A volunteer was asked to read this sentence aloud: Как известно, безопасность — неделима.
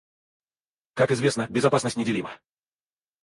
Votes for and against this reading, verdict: 2, 2, rejected